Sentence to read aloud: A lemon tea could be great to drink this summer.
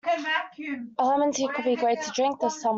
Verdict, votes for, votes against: rejected, 0, 2